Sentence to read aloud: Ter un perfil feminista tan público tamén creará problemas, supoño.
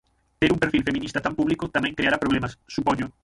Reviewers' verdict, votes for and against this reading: rejected, 0, 6